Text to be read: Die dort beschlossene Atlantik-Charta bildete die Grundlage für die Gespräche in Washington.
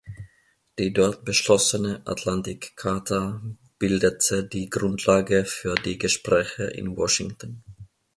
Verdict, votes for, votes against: accepted, 2, 0